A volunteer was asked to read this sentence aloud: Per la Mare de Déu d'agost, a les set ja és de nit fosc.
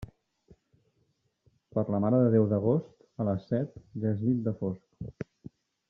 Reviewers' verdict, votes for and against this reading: rejected, 0, 2